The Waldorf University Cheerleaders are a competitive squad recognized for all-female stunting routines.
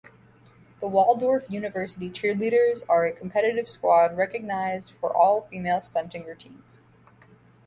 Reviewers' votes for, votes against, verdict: 2, 0, accepted